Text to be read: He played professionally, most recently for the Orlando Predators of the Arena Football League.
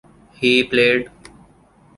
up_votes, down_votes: 0, 2